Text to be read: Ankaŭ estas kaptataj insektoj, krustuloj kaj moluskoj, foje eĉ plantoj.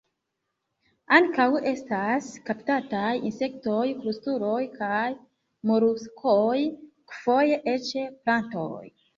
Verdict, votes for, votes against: rejected, 0, 3